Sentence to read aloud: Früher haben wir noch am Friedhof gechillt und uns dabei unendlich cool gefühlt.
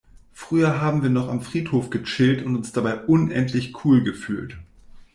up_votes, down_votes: 2, 0